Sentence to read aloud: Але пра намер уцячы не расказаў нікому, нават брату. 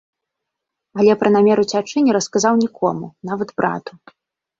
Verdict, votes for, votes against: accepted, 2, 0